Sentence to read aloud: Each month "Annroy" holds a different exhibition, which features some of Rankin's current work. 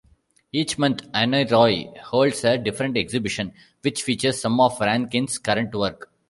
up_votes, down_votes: 2, 0